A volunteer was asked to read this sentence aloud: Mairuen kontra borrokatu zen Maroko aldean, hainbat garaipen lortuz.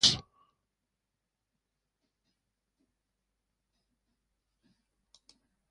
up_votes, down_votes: 0, 3